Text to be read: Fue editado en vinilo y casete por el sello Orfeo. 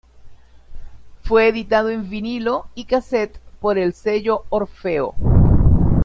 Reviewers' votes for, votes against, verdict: 0, 2, rejected